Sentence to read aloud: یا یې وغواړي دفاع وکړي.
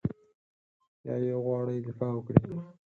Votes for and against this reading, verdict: 4, 0, accepted